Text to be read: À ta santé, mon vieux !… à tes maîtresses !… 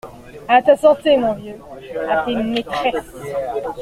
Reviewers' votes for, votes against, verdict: 2, 0, accepted